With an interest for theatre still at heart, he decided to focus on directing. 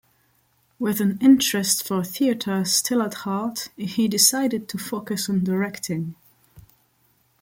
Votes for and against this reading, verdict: 2, 0, accepted